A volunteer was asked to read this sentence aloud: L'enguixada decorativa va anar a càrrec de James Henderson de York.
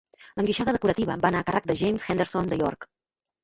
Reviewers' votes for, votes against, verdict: 1, 2, rejected